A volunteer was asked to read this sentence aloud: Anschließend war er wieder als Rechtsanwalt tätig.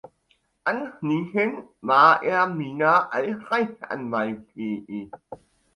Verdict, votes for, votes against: accepted, 2, 0